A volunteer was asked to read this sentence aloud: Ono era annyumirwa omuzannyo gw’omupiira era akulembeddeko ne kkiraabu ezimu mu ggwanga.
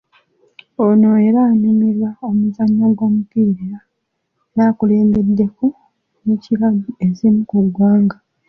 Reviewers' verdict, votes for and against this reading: accepted, 2, 0